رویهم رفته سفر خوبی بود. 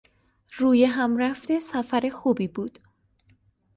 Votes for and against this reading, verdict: 2, 0, accepted